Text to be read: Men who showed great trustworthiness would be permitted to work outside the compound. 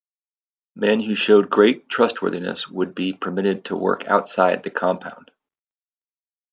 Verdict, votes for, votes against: accepted, 2, 0